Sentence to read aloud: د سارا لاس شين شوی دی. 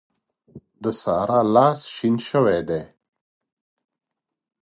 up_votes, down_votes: 2, 1